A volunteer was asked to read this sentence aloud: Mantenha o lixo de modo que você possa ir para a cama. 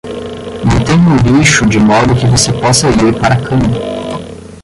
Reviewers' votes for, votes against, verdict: 5, 10, rejected